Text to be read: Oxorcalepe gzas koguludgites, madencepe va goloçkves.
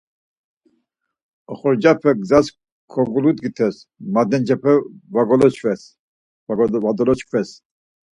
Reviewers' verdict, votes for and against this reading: rejected, 0, 4